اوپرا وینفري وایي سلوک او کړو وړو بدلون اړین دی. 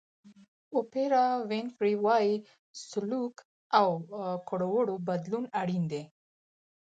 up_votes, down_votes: 4, 0